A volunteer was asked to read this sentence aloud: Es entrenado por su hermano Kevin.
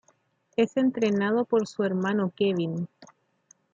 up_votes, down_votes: 2, 0